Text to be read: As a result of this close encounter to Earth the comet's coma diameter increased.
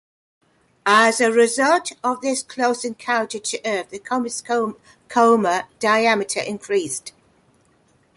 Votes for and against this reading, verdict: 3, 2, accepted